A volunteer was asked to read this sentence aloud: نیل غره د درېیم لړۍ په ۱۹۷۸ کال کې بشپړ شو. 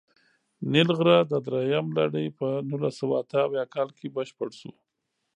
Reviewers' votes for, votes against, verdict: 0, 2, rejected